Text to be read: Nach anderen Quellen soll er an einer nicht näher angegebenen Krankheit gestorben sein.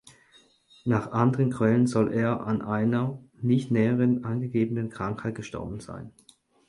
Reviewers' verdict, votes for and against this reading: accepted, 4, 0